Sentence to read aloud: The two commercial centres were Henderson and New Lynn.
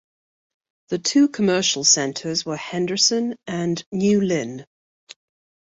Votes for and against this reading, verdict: 2, 0, accepted